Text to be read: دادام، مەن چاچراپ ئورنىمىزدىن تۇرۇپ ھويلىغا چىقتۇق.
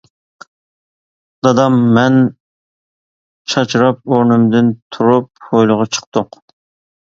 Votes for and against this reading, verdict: 0, 2, rejected